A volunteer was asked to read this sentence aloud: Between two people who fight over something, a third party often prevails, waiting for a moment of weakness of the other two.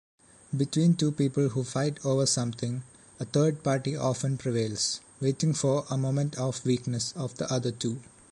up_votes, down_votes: 0, 2